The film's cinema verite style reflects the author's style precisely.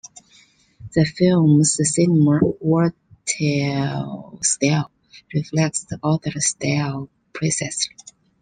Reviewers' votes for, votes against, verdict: 1, 2, rejected